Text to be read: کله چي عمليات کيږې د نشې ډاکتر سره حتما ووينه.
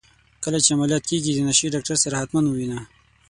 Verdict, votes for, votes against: accepted, 6, 0